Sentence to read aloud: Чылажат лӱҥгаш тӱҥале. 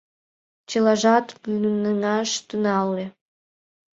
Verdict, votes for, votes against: rejected, 0, 2